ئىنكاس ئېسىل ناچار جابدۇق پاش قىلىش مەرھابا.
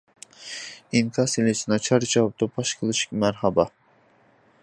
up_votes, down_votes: 0, 2